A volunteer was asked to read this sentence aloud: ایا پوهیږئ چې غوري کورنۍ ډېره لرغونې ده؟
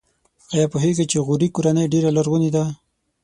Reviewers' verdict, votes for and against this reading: accepted, 6, 0